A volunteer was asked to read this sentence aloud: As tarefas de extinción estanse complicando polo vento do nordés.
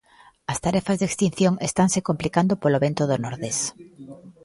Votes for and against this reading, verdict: 2, 0, accepted